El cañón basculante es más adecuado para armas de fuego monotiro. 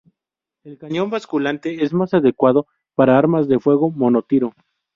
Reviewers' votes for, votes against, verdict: 0, 2, rejected